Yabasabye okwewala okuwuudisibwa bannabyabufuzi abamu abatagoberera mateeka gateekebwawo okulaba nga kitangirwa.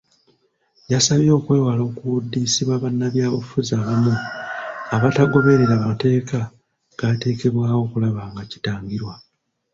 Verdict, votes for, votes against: rejected, 1, 2